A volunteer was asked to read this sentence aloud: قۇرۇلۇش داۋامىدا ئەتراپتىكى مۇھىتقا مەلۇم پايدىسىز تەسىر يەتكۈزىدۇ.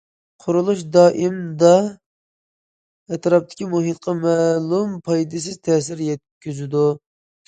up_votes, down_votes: 0, 2